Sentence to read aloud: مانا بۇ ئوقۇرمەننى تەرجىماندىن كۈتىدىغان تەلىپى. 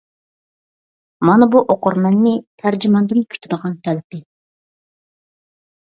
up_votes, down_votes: 3, 0